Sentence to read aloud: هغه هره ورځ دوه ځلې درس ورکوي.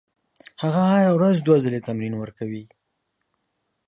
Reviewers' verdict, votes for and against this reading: rejected, 1, 2